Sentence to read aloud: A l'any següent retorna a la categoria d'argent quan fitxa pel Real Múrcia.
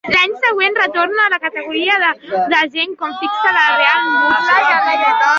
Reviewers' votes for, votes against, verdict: 0, 3, rejected